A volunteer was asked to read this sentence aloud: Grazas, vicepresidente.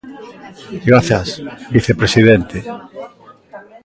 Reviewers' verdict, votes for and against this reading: accepted, 2, 0